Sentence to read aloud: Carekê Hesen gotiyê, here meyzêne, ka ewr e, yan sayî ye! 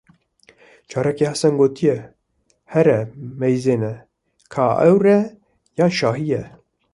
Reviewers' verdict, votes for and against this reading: rejected, 1, 2